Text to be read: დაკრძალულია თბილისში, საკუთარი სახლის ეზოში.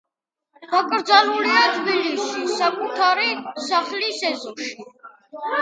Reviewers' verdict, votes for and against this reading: rejected, 1, 2